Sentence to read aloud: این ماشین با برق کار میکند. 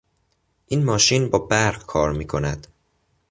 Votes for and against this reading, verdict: 2, 0, accepted